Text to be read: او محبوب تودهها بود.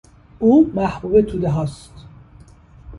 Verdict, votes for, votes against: rejected, 1, 2